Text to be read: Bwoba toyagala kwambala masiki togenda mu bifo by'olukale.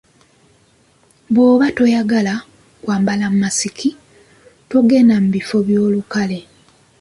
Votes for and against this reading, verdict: 2, 0, accepted